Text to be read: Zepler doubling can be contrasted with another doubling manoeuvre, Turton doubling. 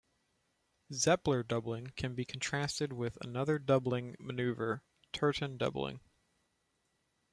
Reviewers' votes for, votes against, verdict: 2, 0, accepted